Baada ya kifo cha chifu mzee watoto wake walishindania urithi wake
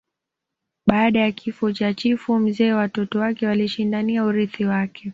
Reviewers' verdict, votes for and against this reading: accepted, 2, 1